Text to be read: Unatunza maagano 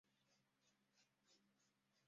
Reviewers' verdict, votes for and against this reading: rejected, 0, 2